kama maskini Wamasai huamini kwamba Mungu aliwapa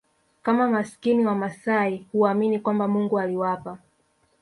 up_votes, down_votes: 0, 2